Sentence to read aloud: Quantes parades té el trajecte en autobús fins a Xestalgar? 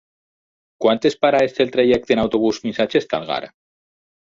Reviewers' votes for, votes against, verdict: 2, 6, rejected